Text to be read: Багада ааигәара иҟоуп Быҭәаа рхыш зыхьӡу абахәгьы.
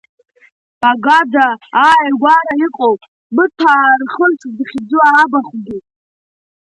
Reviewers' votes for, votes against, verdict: 3, 0, accepted